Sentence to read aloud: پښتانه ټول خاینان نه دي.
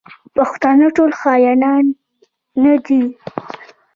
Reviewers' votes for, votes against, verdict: 0, 2, rejected